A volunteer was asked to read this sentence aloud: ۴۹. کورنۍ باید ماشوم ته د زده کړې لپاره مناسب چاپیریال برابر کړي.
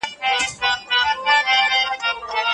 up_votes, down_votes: 0, 2